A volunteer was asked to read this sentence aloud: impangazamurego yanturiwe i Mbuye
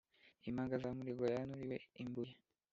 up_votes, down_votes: 1, 2